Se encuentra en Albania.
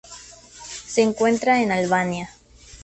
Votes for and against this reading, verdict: 4, 0, accepted